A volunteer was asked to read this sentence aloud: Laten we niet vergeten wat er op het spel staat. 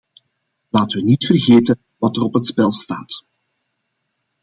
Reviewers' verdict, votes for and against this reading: accepted, 2, 0